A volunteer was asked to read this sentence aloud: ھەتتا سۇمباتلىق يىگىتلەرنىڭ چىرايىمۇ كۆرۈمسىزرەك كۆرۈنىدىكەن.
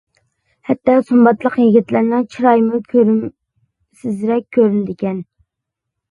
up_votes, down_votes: 2, 0